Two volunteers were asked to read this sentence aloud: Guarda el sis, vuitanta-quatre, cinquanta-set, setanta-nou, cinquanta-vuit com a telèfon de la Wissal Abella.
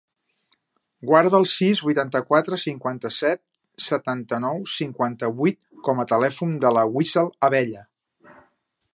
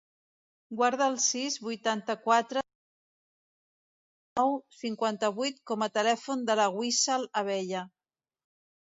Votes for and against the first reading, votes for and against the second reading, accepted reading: 3, 0, 0, 2, first